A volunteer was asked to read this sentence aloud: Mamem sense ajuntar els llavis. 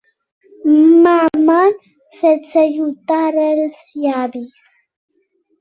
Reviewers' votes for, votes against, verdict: 2, 0, accepted